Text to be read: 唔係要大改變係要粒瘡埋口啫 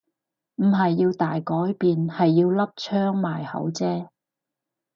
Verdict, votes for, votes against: rejected, 0, 4